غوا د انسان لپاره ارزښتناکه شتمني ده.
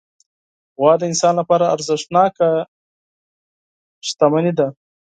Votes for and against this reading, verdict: 6, 0, accepted